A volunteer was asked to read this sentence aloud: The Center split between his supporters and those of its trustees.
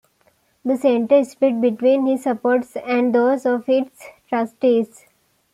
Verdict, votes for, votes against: accepted, 2, 1